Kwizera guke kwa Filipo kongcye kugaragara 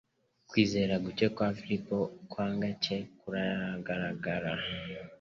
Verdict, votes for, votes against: rejected, 1, 2